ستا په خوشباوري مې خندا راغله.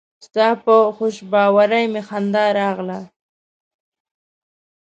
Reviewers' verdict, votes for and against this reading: accepted, 2, 0